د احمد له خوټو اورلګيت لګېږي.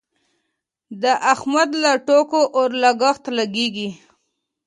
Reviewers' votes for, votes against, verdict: 1, 2, rejected